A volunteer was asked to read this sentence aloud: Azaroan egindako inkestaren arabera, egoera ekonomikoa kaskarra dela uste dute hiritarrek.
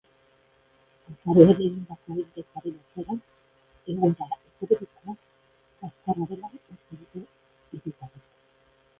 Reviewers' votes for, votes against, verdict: 0, 3, rejected